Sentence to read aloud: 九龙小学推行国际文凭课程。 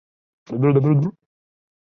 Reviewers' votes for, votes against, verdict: 0, 2, rejected